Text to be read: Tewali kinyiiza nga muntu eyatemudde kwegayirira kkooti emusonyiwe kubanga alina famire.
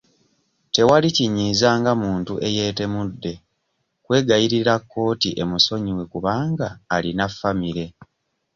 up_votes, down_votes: 1, 2